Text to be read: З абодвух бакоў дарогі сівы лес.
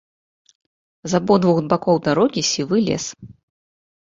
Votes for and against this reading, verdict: 1, 2, rejected